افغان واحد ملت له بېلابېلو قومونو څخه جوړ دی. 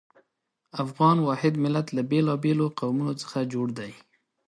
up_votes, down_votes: 2, 0